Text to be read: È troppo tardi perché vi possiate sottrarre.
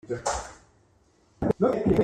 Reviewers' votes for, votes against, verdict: 0, 2, rejected